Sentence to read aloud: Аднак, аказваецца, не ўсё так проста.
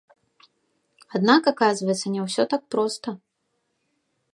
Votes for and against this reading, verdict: 2, 0, accepted